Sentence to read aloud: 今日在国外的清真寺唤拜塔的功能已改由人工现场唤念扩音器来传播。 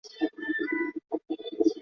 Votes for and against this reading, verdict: 1, 2, rejected